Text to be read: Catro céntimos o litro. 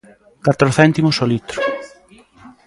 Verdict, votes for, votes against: accepted, 2, 0